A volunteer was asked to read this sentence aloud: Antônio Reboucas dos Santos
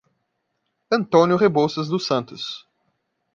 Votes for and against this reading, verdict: 0, 2, rejected